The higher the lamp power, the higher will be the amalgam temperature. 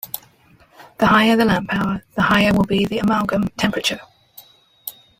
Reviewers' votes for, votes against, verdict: 1, 2, rejected